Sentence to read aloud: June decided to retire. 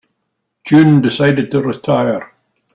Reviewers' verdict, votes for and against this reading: accepted, 3, 0